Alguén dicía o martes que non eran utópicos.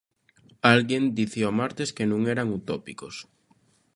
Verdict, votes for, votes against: accepted, 2, 0